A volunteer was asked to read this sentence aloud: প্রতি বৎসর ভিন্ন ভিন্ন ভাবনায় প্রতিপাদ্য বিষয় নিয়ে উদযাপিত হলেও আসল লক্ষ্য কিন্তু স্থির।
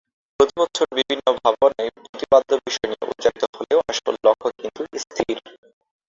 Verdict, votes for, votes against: rejected, 0, 2